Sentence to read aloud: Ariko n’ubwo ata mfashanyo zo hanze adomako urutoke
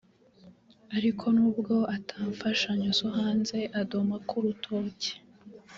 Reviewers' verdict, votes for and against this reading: rejected, 0, 2